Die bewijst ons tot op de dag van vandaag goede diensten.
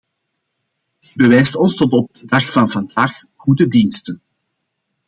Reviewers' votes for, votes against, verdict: 1, 2, rejected